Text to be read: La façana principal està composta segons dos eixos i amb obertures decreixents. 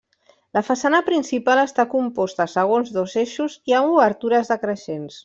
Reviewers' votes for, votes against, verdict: 1, 2, rejected